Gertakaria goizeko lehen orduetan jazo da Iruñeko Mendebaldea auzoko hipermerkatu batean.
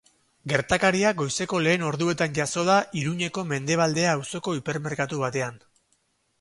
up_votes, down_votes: 6, 0